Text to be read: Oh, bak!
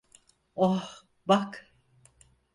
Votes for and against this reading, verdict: 2, 4, rejected